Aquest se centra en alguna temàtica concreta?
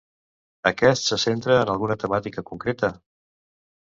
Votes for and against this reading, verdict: 2, 0, accepted